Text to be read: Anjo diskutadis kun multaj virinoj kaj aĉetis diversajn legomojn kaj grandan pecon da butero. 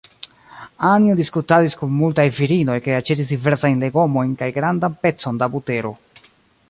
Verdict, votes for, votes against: rejected, 0, 2